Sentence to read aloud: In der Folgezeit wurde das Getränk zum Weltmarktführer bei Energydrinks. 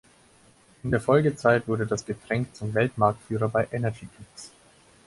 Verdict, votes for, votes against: accepted, 4, 2